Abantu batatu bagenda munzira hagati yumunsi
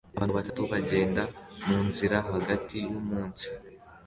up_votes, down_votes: 2, 0